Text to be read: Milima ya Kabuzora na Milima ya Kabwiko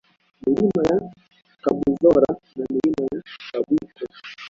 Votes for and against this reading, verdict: 0, 2, rejected